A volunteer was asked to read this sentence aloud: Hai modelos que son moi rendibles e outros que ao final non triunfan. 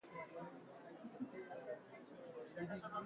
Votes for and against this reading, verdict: 0, 2, rejected